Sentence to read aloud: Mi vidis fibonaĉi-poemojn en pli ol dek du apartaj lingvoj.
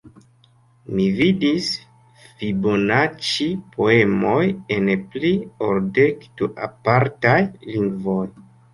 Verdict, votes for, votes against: rejected, 2, 3